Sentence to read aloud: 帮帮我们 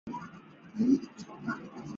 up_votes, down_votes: 0, 2